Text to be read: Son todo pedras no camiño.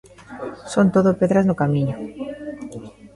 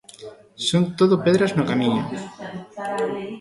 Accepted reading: first